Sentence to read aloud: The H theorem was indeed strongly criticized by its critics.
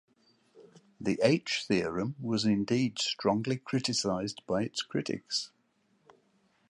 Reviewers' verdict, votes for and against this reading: accepted, 2, 0